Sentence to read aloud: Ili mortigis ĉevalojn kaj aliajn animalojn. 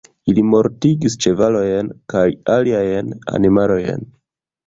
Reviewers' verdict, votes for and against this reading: rejected, 1, 2